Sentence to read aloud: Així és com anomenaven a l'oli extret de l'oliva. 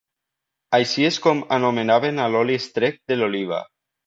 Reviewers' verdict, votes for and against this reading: accepted, 2, 0